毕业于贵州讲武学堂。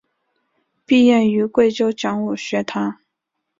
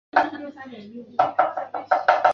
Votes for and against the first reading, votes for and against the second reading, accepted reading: 2, 0, 0, 4, first